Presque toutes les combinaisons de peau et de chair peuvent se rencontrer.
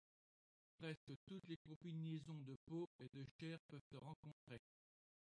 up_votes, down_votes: 0, 2